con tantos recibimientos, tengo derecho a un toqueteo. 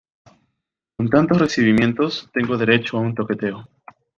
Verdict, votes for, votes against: accepted, 2, 0